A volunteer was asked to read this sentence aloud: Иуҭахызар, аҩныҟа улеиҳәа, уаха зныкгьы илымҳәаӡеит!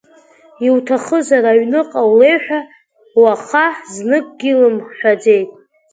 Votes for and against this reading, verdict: 0, 2, rejected